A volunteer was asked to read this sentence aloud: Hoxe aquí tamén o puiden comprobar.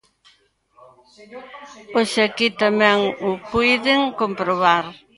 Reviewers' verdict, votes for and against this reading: rejected, 0, 2